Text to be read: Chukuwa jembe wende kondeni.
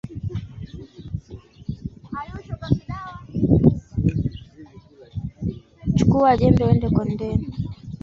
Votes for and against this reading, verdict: 0, 2, rejected